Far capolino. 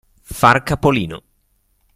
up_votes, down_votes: 2, 0